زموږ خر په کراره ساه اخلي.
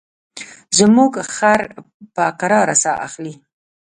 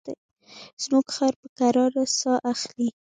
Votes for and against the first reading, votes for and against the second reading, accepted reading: 0, 2, 3, 1, second